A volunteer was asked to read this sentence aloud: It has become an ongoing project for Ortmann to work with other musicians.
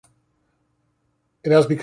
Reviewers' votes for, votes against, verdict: 0, 2, rejected